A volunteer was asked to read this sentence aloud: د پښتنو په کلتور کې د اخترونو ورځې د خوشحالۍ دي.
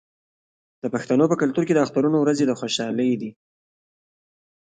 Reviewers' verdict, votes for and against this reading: rejected, 0, 2